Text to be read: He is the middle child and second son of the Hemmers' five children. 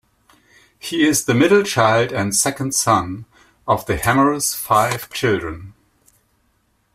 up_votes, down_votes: 2, 0